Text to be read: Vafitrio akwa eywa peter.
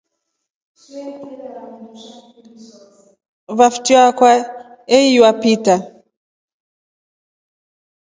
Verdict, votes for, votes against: accepted, 2, 0